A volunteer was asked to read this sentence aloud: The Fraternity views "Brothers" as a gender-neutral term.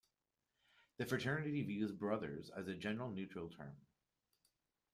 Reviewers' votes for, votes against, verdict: 1, 2, rejected